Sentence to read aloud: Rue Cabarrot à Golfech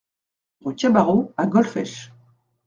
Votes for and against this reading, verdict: 2, 0, accepted